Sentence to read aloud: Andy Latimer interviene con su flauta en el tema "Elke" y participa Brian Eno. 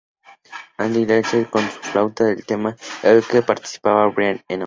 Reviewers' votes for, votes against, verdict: 0, 2, rejected